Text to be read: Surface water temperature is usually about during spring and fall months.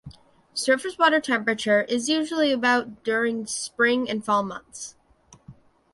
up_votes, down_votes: 2, 0